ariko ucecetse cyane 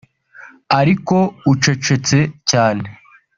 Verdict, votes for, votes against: accepted, 2, 0